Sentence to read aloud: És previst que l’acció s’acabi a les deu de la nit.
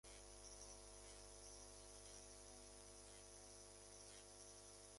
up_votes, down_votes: 1, 2